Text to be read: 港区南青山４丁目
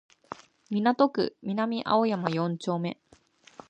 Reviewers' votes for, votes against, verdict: 0, 2, rejected